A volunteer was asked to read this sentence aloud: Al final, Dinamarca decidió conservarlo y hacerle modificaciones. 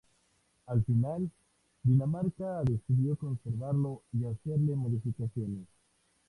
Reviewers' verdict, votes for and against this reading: rejected, 0, 2